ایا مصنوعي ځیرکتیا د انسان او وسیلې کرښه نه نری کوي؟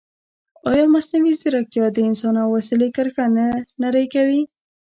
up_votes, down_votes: 0, 2